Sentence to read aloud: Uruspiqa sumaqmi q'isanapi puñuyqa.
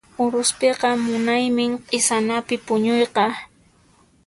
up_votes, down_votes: 1, 2